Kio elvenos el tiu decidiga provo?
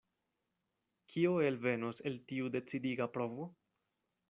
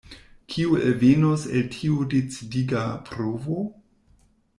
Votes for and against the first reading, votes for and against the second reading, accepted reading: 2, 0, 1, 2, first